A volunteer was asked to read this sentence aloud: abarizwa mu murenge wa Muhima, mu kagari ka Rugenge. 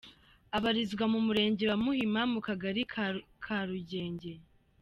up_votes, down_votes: 1, 2